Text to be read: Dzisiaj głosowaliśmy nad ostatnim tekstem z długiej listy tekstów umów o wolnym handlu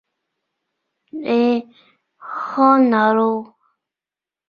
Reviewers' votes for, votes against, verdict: 0, 2, rejected